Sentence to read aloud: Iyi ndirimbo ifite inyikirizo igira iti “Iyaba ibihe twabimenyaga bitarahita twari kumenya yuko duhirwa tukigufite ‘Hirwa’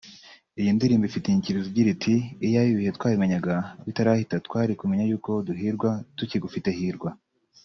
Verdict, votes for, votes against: accepted, 2, 1